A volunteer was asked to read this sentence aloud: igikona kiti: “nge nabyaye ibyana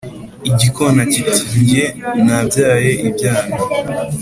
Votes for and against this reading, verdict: 2, 0, accepted